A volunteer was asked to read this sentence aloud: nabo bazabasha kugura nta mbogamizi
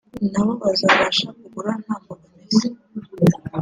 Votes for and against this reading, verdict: 2, 0, accepted